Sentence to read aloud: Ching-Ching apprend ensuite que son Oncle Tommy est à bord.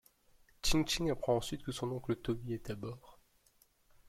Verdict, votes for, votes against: rejected, 0, 2